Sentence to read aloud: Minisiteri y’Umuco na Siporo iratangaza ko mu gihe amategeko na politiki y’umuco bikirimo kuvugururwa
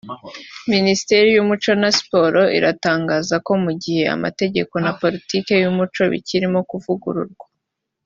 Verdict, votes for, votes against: accepted, 2, 0